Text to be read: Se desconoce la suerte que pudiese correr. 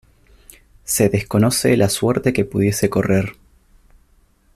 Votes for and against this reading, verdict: 2, 0, accepted